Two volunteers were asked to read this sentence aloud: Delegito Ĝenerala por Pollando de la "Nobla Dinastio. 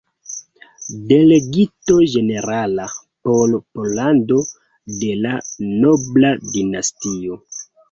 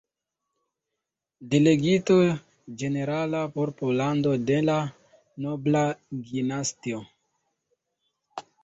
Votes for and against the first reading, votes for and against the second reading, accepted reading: 2, 0, 0, 2, first